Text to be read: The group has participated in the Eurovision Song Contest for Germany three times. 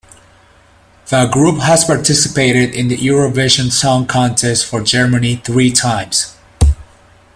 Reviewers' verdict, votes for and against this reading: accepted, 2, 0